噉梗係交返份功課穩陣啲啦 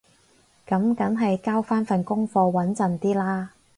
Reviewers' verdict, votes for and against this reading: accepted, 6, 0